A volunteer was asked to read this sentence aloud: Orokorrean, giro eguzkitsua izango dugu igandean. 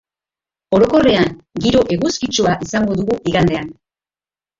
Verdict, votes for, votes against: accepted, 2, 0